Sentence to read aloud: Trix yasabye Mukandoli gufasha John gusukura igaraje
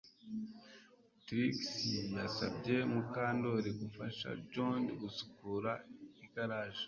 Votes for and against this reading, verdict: 4, 0, accepted